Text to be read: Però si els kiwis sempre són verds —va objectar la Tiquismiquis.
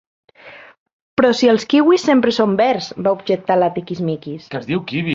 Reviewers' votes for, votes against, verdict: 1, 2, rejected